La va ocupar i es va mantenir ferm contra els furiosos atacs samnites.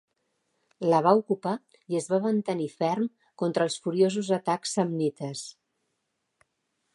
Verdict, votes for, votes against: accepted, 2, 0